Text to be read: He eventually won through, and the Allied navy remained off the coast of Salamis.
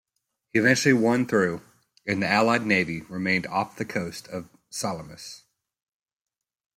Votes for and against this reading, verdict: 1, 2, rejected